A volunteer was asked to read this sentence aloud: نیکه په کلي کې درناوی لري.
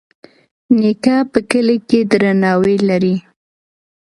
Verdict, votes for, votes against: accepted, 2, 0